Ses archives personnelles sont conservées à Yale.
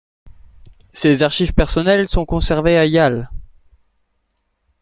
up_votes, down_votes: 1, 2